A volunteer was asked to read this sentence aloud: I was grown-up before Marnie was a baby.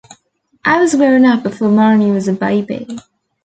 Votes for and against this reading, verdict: 2, 0, accepted